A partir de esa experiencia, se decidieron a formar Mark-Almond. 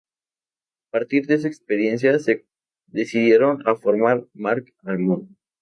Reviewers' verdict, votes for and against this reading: accepted, 2, 0